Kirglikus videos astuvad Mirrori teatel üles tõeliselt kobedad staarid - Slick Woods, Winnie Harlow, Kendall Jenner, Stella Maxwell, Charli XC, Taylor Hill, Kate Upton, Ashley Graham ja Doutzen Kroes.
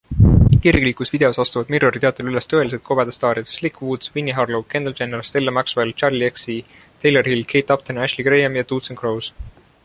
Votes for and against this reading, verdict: 0, 2, rejected